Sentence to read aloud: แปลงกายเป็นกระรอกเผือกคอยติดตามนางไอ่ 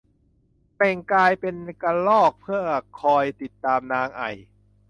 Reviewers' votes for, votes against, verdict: 0, 2, rejected